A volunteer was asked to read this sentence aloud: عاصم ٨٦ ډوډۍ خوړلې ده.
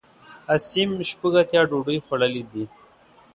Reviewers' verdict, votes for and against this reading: rejected, 0, 2